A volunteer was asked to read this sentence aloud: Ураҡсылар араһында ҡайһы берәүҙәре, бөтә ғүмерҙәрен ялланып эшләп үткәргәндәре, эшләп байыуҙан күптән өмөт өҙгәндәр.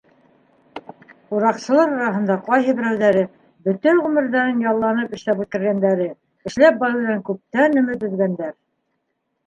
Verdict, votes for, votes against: rejected, 2, 3